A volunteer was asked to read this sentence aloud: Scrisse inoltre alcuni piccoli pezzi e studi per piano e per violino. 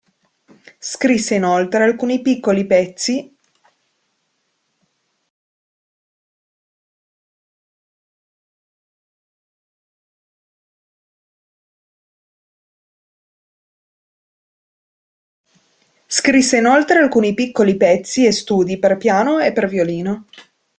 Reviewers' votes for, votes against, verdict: 0, 2, rejected